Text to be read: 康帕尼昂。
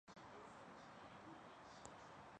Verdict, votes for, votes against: rejected, 0, 2